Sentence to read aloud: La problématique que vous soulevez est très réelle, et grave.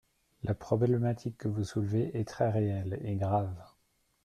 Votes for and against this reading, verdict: 3, 0, accepted